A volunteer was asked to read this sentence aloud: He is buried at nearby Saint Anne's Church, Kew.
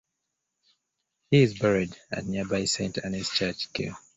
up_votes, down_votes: 2, 0